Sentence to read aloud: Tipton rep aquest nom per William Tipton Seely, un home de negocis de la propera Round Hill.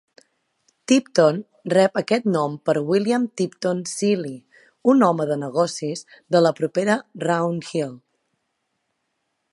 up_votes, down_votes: 2, 0